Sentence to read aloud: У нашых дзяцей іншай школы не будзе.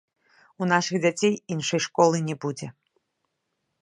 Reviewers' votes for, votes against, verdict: 1, 2, rejected